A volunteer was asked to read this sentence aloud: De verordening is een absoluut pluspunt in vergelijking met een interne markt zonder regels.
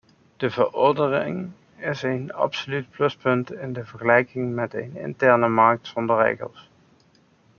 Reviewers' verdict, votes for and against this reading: rejected, 0, 2